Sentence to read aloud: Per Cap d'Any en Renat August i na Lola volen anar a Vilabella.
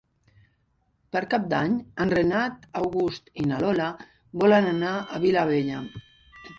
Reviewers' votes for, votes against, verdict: 1, 2, rejected